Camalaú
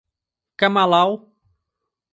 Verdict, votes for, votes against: rejected, 0, 2